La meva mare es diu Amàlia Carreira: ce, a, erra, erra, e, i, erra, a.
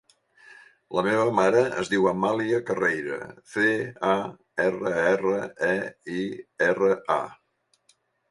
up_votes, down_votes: 1, 2